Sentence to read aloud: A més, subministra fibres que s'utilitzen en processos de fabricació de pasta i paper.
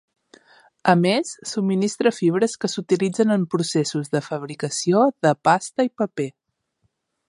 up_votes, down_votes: 3, 0